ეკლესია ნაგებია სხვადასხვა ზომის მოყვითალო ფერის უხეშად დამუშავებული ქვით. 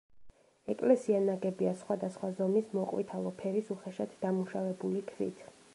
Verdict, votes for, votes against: accepted, 2, 0